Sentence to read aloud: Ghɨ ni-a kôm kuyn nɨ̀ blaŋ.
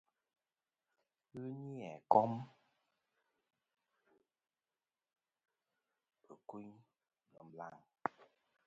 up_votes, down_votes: 1, 2